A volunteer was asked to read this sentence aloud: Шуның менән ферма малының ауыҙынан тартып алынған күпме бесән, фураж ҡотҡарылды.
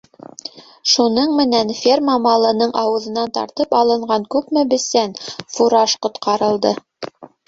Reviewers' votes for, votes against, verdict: 1, 2, rejected